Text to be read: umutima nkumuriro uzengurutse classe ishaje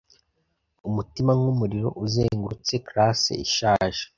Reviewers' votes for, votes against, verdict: 2, 0, accepted